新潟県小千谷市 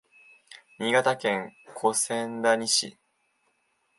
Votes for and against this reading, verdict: 4, 3, accepted